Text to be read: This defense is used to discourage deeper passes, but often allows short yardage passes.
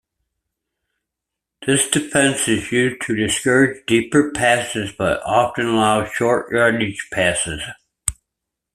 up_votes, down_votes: 2, 1